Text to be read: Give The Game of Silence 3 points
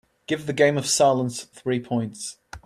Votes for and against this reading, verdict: 0, 2, rejected